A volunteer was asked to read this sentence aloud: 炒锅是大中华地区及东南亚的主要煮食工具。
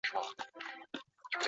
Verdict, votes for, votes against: rejected, 2, 6